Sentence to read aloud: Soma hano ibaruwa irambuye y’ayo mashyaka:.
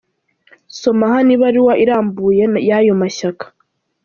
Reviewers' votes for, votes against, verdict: 1, 2, rejected